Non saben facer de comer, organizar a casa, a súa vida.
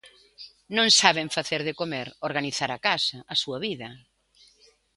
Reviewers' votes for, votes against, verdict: 2, 1, accepted